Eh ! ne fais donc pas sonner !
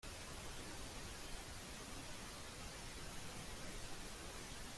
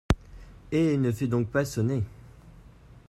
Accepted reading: second